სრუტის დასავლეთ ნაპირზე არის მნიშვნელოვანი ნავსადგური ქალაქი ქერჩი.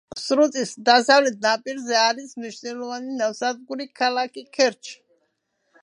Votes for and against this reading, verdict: 1, 2, rejected